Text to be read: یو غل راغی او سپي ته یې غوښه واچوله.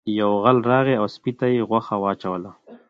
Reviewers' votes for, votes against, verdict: 2, 0, accepted